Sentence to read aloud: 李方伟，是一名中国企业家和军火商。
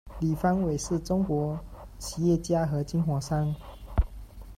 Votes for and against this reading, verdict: 1, 2, rejected